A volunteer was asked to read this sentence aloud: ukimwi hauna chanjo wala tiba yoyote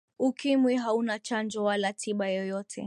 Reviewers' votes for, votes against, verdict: 2, 1, accepted